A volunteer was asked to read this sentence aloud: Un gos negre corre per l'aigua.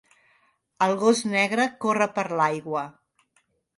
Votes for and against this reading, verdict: 1, 2, rejected